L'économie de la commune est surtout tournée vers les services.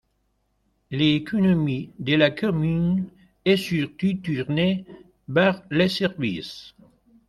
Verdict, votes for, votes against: accepted, 2, 0